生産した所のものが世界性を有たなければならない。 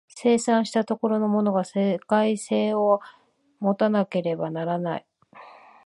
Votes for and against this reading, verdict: 2, 1, accepted